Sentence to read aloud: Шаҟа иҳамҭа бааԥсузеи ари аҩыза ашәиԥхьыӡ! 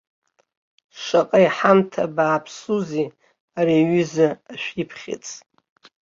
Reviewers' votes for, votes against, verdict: 2, 3, rejected